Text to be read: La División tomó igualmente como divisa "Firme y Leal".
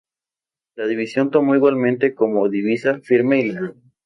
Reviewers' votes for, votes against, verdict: 4, 2, accepted